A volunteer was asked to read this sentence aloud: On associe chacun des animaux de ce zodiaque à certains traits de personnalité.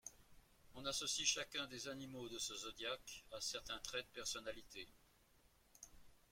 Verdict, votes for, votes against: rejected, 1, 2